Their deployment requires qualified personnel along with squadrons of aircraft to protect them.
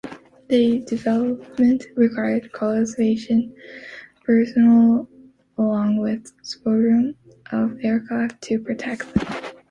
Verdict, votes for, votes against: rejected, 0, 2